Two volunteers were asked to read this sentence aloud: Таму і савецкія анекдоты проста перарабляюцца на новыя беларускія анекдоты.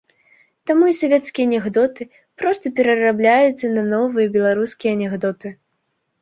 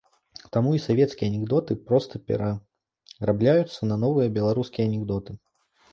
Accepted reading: first